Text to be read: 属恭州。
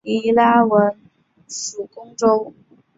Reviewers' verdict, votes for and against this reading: rejected, 0, 3